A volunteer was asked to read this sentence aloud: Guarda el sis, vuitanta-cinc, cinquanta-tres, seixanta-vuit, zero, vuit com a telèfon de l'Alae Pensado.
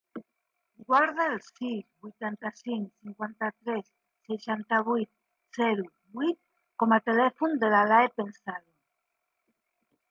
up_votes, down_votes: 1, 2